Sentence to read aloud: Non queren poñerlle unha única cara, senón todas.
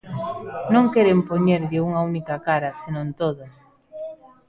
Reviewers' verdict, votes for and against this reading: rejected, 1, 2